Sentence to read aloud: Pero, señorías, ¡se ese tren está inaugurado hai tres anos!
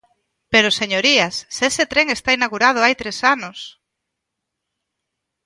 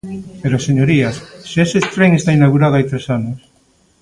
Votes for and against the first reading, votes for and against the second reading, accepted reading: 2, 0, 1, 2, first